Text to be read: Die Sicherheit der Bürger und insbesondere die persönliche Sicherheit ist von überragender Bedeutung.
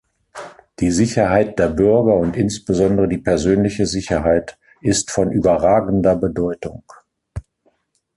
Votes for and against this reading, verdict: 2, 0, accepted